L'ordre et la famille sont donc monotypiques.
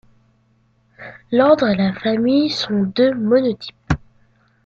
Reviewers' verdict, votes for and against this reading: rejected, 0, 2